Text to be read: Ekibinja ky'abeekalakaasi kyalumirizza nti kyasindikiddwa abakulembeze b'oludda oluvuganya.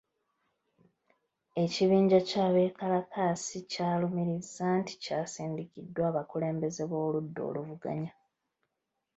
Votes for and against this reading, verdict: 0, 2, rejected